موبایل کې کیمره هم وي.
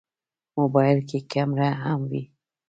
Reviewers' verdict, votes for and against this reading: accepted, 2, 1